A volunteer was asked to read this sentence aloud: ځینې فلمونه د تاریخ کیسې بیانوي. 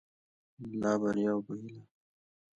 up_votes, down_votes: 1, 2